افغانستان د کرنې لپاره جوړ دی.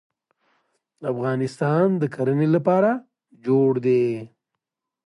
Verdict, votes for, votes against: accepted, 2, 0